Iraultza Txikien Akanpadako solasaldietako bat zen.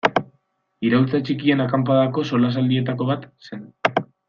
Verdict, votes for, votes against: accepted, 2, 0